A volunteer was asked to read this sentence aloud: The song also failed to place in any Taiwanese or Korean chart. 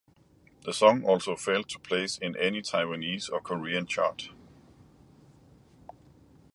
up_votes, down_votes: 2, 0